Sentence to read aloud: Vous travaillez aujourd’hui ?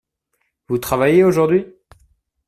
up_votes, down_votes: 2, 0